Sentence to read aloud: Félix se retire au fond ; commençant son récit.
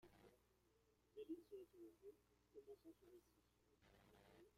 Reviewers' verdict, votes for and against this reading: rejected, 0, 2